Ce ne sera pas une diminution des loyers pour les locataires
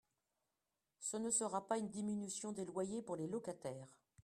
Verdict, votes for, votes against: accepted, 2, 0